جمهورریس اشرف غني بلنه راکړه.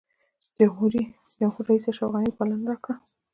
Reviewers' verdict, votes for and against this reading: rejected, 0, 2